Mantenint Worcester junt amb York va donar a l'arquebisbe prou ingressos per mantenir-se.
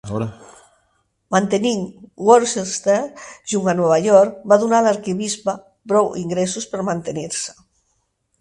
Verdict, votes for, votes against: rejected, 2, 4